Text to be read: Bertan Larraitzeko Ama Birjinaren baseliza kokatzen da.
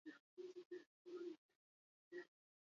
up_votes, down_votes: 0, 4